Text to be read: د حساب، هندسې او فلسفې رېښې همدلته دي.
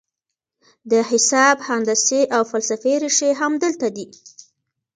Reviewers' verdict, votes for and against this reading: rejected, 0, 2